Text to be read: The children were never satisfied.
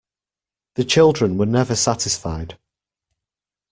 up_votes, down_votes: 2, 0